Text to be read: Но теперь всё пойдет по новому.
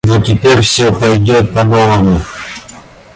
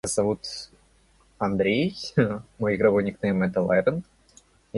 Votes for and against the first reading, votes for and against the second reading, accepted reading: 2, 0, 0, 2, first